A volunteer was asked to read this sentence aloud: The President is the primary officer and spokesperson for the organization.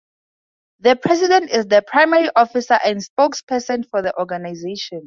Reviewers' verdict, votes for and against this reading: accepted, 2, 0